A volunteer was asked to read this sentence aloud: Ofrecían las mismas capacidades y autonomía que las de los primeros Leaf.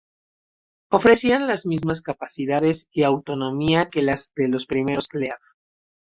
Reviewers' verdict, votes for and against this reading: rejected, 0, 2